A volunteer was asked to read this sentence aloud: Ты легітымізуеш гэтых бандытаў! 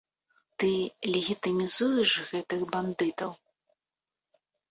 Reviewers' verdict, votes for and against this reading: accepted, 2, 0